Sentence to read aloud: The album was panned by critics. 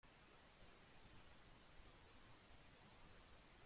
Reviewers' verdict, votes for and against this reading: rejected, 0, 3